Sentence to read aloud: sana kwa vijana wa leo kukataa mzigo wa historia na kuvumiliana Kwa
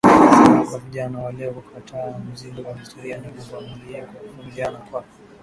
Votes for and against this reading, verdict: 10, 4, accepted